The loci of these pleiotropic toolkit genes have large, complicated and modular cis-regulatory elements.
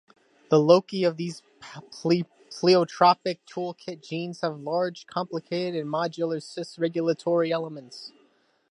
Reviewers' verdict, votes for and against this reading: rejected, 1, 2